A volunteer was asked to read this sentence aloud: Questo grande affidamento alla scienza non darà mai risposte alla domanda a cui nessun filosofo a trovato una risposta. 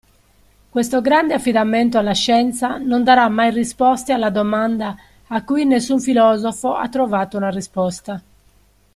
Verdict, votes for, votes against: rejected, 1, 2